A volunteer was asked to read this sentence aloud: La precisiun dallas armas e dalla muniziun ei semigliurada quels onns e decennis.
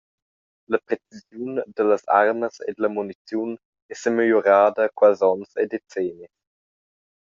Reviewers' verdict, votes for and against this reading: rejected, 0, 2